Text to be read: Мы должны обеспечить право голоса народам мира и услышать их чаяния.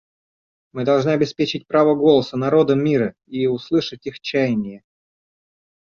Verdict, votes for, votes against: accepted, 2, 0